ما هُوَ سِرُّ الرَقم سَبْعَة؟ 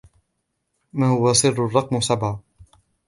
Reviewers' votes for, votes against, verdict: 2, 0, accepted